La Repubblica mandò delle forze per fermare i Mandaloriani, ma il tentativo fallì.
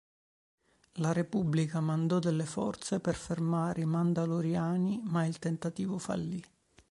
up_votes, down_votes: 4, 0